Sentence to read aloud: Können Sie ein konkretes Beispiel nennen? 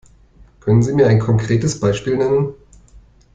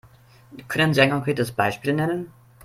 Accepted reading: second